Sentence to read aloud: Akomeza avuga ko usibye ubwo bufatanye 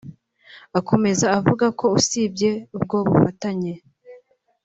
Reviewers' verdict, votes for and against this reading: accepted, 2, 0